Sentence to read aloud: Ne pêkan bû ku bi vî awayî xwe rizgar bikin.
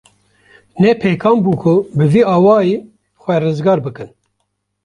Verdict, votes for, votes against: accepted, 2, 0